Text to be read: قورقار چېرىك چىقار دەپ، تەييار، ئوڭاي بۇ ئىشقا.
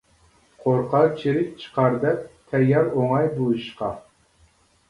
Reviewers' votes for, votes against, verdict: 1, 2, rejected